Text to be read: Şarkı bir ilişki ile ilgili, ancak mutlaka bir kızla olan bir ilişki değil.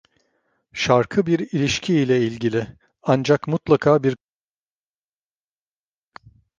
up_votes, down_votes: 1, 2